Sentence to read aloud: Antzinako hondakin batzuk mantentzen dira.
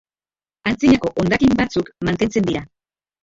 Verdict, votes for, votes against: rejected, 0, 2